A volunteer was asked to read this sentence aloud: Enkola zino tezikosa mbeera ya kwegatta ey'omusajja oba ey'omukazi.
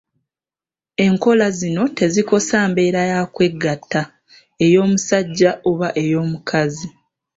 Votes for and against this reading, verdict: 2, 1, accepted